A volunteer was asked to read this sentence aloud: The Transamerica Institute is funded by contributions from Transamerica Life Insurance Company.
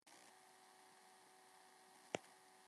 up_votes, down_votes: 1, 2